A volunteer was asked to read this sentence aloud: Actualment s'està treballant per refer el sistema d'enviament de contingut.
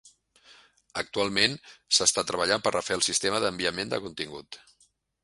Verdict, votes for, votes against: accepted, 3, 0